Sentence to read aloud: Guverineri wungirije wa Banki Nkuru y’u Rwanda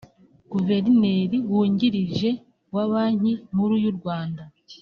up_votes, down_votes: 2, 0